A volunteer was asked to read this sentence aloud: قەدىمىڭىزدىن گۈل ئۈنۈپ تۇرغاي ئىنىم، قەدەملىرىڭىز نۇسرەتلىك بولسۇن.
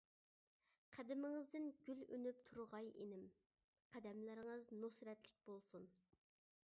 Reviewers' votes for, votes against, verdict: 2, 0, accepted